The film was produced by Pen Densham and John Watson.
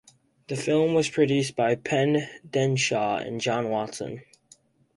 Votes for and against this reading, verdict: 2, 0, accepted